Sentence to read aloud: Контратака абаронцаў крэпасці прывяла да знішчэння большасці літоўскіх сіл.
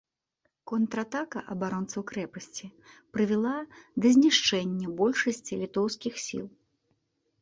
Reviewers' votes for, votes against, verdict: 2, 0, accepted